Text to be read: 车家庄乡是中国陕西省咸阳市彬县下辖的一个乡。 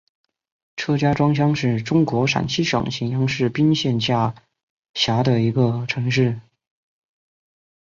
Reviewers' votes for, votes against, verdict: 1, 2, rejected